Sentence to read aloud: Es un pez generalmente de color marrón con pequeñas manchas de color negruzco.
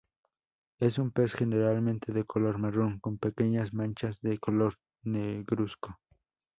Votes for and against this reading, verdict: 0, 4, rejected